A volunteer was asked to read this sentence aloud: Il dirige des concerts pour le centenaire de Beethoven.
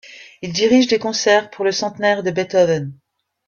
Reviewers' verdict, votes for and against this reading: accepted, 2, 0